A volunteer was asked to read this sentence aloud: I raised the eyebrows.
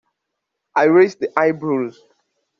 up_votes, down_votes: 2, 1